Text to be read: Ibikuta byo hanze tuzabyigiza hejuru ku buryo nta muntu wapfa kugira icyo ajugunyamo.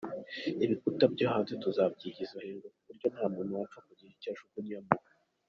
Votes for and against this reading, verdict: 1, 2, rejected